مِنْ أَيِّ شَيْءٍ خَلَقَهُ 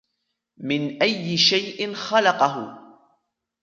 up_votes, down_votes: 1, 2